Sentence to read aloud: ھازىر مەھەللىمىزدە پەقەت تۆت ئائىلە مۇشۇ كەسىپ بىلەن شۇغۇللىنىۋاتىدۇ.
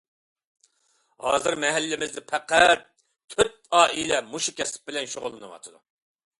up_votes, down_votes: 2, 0